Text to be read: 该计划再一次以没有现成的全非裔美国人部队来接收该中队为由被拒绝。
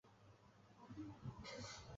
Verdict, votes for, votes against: rejected, 0, 4